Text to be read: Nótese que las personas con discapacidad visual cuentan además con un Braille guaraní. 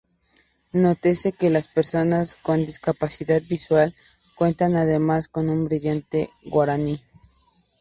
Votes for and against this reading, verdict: 0, 2, rejected